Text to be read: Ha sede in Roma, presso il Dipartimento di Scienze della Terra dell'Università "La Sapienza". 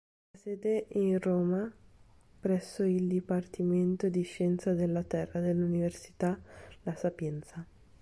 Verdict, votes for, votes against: rejected, 0, 2